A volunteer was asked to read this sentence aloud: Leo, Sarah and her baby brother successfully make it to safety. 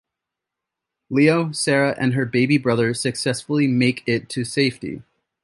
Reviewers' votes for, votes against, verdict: 2, 0, accepted